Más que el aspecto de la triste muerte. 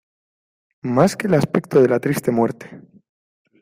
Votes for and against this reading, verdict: 2, 0, accepted